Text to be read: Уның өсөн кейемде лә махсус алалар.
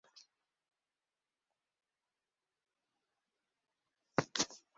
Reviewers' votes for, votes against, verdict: 0, 2, rejected